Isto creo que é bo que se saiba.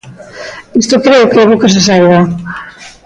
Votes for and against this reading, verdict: 2, 1, accepted